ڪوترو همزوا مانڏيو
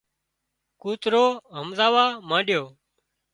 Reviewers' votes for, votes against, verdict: 1, 2, rejected